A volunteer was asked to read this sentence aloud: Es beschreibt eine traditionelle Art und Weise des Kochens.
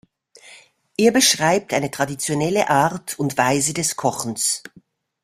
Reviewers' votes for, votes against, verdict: 0, 2, rejected